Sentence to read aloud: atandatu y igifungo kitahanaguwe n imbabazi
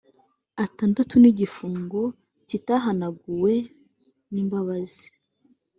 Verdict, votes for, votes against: accepted, 2, 1